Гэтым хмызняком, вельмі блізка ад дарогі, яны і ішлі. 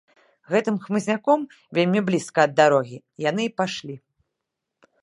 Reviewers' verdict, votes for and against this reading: rejected, 0, 2